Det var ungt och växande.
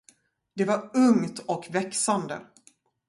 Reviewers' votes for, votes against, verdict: 2, 0, accepted